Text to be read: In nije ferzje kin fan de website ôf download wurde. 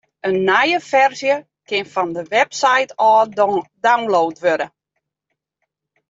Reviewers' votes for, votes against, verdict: 0, 2, rejected